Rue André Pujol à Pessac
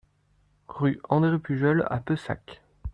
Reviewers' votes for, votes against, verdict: 1, 2, rejected